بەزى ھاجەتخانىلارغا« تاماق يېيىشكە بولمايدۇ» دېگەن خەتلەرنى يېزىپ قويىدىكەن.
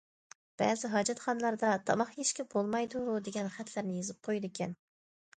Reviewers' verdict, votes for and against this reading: rejected, 0, 2